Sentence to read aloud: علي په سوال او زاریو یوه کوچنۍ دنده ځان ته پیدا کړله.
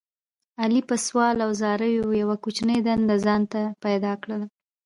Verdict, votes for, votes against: rejected, 1, 2